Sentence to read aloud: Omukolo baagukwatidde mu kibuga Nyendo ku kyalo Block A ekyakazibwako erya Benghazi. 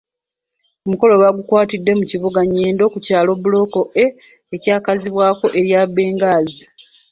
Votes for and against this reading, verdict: 2, 1, accepted